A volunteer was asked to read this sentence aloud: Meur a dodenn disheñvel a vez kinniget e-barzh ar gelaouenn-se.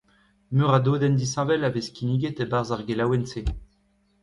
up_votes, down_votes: 2, 1